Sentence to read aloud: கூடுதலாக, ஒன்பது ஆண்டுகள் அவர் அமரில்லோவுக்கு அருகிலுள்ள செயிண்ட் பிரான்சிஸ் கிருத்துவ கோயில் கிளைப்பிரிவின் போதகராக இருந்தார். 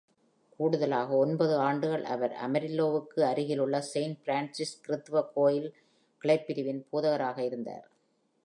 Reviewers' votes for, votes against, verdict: 2, 0, accepted